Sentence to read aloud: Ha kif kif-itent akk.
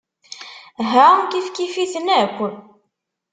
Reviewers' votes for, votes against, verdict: 1, 2, rejected